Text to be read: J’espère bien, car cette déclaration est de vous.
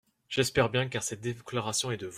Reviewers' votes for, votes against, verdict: 0, 2, rejected